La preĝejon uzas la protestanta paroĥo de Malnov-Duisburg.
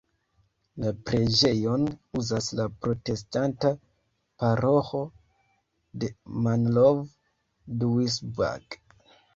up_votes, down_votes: 0, 2